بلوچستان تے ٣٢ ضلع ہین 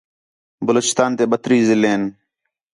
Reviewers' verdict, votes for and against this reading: rejected, 0, 2